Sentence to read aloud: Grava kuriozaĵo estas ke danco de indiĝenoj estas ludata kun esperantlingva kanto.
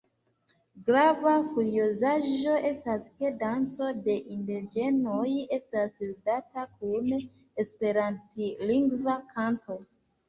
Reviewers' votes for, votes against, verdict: 1, 2, rejected